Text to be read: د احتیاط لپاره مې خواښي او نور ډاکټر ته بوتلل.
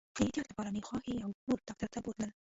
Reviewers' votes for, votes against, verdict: 0, 2, rejected